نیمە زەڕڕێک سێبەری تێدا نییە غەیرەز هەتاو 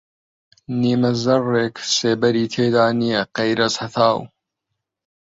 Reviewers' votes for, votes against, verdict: 2, 0, accepted